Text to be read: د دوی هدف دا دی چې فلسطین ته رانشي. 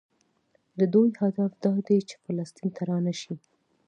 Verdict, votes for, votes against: accepted, 2, 0